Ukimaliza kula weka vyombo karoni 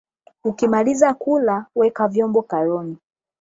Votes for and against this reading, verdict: 8, 0, accepted